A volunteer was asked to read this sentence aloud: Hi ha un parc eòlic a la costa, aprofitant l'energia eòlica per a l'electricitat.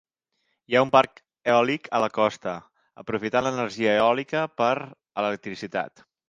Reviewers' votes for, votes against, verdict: 0, 2, rejected